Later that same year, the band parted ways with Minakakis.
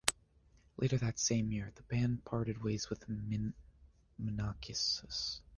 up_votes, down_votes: 0, 2